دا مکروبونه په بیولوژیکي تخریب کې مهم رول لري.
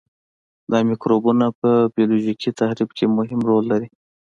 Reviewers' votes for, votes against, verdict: 2, 1, accepted